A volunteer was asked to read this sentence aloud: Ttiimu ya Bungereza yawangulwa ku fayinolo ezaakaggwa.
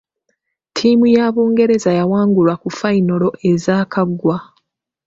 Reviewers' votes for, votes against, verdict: 2, 0, accepted